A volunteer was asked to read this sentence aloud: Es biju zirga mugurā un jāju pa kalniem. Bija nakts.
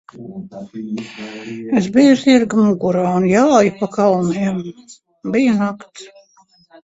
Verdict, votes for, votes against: rejected, 1, 2